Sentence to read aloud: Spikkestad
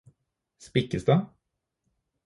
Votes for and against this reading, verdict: 4, 0, accepted